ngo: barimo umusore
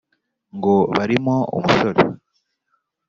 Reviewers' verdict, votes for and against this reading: accepted, 3, 0